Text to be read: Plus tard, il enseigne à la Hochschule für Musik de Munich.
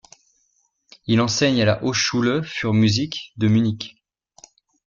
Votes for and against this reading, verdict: 0, 2, rejected